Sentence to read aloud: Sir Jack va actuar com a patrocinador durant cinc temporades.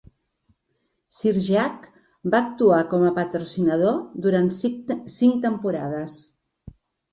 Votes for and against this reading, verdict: 0, 5, rejected